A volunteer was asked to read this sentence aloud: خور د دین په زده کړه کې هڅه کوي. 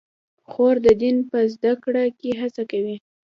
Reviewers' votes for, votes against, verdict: 2, 0, accepted